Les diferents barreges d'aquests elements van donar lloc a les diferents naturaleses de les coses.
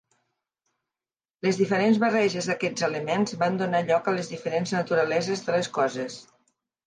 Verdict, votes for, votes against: accepted, 2, 0